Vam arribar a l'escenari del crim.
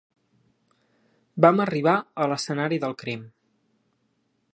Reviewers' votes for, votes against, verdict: 3, 0, accepted